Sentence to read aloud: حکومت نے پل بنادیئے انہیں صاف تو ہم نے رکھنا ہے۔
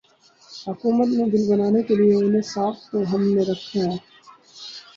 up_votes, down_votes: 2, 4